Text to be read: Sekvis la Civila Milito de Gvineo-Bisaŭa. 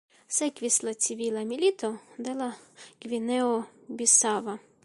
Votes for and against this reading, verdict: 2, 0, accepted